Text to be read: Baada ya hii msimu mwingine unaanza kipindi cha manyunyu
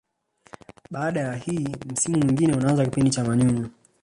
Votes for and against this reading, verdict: 3, 2, accepted